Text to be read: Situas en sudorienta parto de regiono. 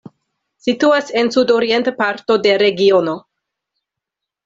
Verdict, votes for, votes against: accepted, 2, 0